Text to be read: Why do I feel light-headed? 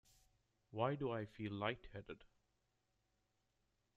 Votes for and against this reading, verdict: 0, 2, rejected